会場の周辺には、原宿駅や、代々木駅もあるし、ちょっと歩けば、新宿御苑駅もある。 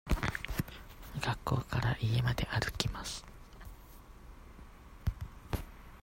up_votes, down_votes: 0, 2